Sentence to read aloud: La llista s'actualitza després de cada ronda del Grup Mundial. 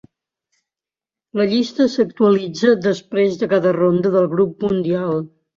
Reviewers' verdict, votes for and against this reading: accepted, 2, 0